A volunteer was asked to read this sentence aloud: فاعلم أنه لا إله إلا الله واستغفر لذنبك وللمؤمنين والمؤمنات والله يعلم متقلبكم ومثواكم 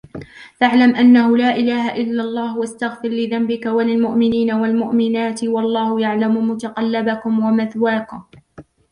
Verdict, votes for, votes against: accepted, 2, 0